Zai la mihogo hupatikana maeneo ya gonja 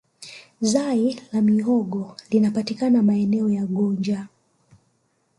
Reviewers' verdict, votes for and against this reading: rejected, 0, 2